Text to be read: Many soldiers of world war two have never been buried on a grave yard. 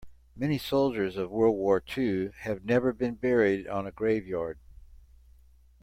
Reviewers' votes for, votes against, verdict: 3, 0, accepted